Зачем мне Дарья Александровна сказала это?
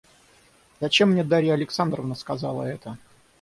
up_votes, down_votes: 6, 0